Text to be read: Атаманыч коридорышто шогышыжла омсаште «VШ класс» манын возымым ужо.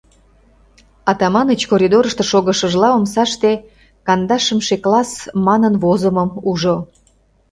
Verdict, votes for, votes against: rejected, 0, 2